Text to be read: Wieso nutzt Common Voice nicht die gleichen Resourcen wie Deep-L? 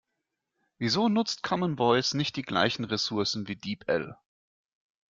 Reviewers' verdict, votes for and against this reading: accepted, 2, 0